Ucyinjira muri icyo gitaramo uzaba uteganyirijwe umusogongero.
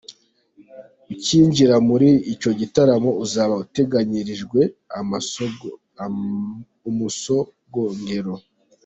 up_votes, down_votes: 0, 2